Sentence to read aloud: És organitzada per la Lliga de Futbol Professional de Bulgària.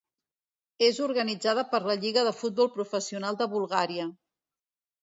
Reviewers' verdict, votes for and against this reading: rejected, 0, 2